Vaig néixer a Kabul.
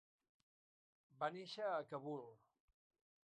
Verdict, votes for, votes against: rejected, 0, 3